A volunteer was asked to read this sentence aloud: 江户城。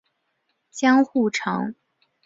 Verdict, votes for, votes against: accepted, 2, 0